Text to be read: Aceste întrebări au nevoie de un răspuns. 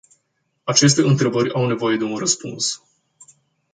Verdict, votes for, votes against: accepted, 2, 0